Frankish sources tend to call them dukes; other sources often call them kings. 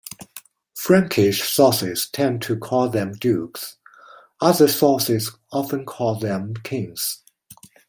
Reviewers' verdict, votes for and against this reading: accepted, 2, 1